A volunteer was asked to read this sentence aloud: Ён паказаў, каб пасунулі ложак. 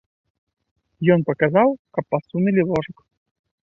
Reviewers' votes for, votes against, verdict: 0, 2, rejected